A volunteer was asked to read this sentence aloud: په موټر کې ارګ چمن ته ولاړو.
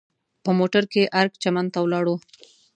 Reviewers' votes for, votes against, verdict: 2, 0, accepted